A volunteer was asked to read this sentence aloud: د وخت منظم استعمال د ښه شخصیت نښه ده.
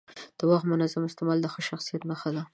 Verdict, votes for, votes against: accepted, 3, 0